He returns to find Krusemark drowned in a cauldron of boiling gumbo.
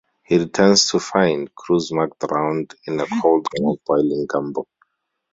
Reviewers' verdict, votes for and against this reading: rejected, 2, 2